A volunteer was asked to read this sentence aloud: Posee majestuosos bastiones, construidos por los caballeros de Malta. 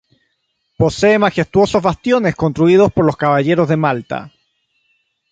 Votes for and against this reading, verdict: 3, 0, accepted